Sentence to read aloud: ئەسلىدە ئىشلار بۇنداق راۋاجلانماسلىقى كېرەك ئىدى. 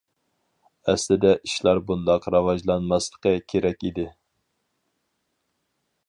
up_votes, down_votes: 4, 0